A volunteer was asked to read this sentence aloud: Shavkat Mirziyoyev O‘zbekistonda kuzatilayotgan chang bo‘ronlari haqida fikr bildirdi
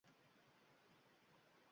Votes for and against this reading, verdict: 0, 2, rejected